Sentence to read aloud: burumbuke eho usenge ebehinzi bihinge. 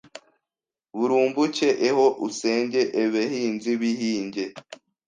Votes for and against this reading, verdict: 1, 2, rejected